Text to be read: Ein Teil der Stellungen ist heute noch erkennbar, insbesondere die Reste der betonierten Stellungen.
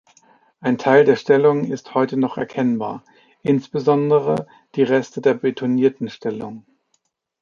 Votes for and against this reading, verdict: 1, 2, rejected